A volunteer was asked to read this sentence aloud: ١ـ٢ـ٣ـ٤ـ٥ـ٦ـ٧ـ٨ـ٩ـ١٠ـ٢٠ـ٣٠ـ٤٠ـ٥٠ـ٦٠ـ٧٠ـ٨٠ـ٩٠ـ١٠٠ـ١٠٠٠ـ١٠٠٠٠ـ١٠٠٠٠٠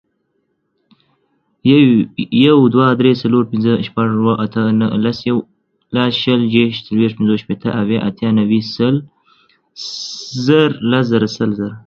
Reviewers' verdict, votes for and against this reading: rejected, 0, 2